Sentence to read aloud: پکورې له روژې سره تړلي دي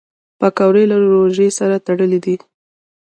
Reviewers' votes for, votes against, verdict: 1, 2, rejected